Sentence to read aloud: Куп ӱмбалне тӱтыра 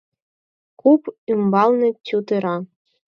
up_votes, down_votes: 4, 0